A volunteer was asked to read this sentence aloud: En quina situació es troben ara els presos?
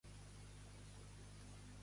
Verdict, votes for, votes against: rejected, 0, 2